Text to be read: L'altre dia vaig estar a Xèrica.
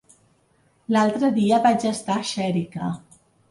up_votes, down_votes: 2, 0